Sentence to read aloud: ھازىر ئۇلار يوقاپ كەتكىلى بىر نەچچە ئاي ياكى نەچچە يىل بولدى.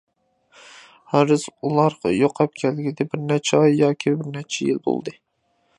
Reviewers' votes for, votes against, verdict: 0, 2, rejected